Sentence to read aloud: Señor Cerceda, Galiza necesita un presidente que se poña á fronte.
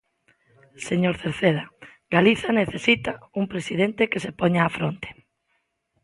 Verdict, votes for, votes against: accepted, 2, 0